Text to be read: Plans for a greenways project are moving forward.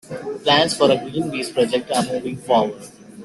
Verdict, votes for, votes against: rejected, 1, 2